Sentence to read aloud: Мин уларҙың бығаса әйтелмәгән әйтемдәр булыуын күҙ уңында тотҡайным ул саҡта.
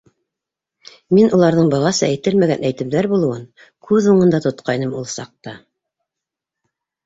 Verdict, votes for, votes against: accepted, 2, 0